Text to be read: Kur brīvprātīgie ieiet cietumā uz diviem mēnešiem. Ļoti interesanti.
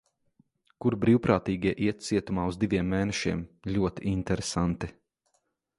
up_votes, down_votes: 1, 2